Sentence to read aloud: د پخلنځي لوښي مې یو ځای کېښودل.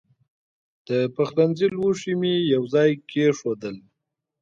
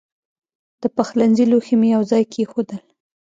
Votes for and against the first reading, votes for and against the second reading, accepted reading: 2, 0, 1, 2, first